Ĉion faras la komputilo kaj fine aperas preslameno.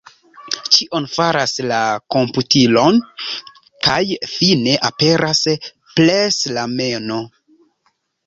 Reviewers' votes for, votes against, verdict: 2, 1, accepted